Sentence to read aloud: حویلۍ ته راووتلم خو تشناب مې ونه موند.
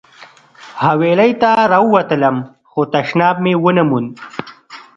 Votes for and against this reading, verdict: 2, 0, accepted